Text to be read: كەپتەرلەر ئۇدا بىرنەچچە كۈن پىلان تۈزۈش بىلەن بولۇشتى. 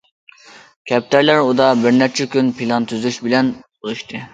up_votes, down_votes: 2, 0